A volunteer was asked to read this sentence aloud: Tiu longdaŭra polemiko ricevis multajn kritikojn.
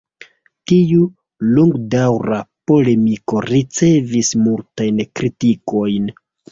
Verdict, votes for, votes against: accepted, 2, 0